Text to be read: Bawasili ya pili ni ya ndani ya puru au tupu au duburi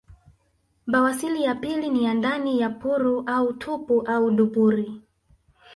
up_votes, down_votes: 0, 2